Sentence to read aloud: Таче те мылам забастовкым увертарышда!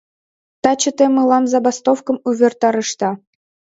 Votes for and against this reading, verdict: 2, 0, accepted